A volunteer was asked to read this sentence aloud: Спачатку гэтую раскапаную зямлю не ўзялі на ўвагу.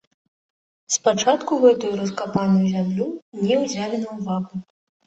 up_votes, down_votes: 0, 2